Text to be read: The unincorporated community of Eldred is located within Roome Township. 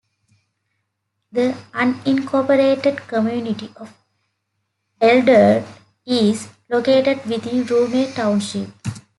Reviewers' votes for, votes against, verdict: 0, 2, rejected